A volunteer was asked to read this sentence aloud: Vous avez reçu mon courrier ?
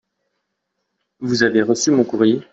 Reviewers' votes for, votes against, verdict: 2, 0, accepted